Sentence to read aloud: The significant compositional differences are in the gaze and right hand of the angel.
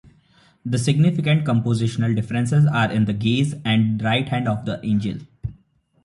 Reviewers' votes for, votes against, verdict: 2, 0, accepted